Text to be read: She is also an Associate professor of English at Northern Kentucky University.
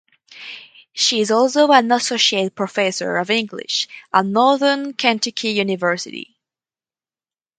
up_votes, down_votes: 0, 4